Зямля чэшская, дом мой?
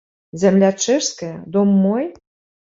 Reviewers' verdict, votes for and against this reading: accepted, 2, 0